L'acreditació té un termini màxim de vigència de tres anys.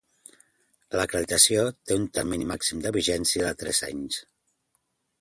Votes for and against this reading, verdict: 2, 0, accepted